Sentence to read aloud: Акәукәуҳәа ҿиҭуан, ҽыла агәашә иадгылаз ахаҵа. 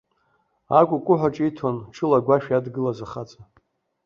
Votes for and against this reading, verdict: 3, 0, accepted